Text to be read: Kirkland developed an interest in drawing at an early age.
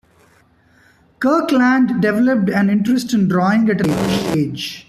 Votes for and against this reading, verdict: 1, 2, rejected